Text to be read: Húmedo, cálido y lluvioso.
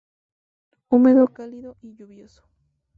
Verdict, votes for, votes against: accepted, 2, 0